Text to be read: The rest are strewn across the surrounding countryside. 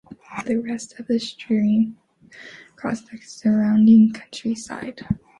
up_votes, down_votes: 1, 2